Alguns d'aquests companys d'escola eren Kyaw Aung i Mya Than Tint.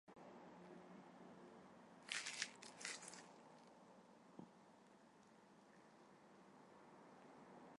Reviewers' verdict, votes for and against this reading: rejected, 0, 2